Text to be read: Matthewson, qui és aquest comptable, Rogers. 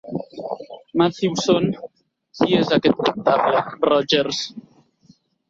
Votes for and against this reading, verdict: 1, 2, rejected